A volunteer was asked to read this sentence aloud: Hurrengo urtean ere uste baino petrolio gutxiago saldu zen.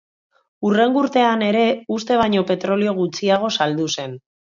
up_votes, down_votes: 2, 0